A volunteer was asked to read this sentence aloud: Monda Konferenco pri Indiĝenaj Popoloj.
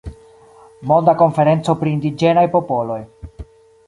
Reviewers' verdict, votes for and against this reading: accepted, 2, 0